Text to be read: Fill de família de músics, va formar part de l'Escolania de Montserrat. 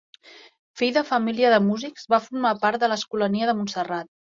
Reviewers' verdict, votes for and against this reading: accepted, 3, 0